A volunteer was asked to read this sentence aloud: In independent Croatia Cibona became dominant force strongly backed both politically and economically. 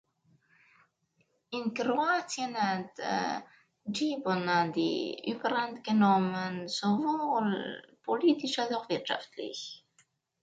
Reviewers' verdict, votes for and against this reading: rejected, 0, 2